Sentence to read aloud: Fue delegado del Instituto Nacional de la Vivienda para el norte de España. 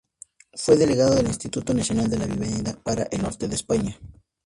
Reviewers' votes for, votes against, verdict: 2, 0, accepted